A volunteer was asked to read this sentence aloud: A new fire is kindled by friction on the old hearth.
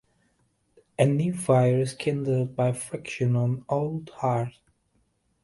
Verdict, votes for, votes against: rejected, 0, 2